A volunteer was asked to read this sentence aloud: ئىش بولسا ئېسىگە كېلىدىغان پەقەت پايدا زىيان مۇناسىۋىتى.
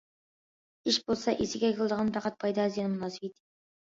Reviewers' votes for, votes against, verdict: 2, 1, accepted